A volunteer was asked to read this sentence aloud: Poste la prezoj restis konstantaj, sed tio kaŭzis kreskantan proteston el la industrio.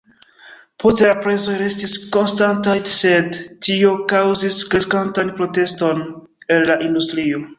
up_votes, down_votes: 0, 3